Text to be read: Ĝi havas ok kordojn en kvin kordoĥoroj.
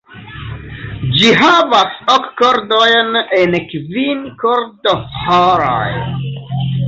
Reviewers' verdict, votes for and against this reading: rejected, 1, 2